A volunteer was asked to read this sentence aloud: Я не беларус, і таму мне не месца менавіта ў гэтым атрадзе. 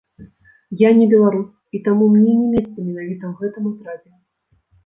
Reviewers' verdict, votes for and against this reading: rejected, 1, 2